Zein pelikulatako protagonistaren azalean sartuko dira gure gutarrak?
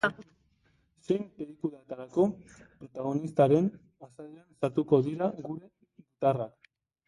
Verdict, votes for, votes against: rejected, 0, 2